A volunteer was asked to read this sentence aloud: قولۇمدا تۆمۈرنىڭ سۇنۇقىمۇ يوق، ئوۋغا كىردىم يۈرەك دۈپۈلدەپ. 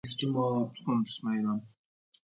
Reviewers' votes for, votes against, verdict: 1, 2, rejected